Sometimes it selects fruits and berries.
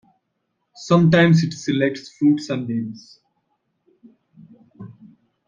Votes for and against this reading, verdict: 1, 2, rejected